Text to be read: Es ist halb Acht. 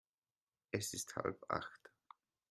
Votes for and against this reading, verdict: 2, 0, accepted